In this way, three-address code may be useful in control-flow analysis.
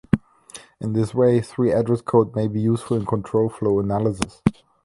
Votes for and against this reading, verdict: 2, 0, accepted